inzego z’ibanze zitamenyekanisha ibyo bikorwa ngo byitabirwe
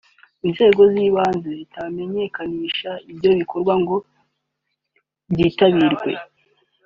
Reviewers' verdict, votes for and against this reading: accepted, 2, 0